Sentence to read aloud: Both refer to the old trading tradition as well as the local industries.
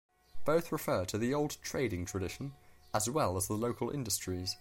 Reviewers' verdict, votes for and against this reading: accepted, 2, 0